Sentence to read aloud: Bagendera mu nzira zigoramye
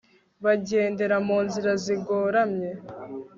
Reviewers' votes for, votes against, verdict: 2, 0, accepted